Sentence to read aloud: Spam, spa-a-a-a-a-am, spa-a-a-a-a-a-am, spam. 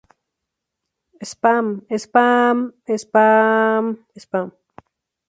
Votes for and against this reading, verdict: 0, 2, rejected